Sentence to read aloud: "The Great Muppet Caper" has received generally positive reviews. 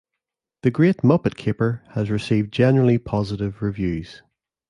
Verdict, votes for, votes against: accepted, 2, 0